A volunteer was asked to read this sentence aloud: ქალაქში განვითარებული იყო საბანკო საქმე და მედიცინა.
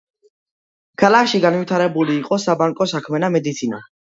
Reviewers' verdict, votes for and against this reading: accepted, 2, 0